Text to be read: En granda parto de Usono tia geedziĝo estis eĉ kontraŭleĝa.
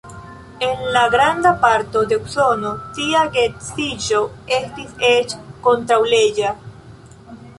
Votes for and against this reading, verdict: 0, 3, rejected